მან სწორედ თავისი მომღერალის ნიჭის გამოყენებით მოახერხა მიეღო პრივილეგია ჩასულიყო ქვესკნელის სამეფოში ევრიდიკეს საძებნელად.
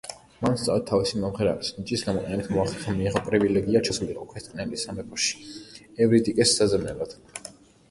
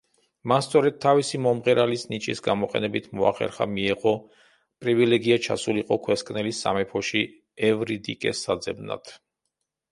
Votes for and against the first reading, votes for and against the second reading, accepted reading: 2, 0, 0, 2, first